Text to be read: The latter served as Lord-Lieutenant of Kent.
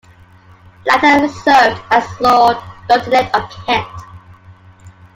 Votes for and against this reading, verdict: 1, 2, rejected